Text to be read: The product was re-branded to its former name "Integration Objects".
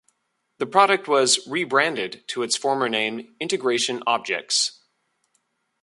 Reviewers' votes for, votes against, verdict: 2, 0, accepted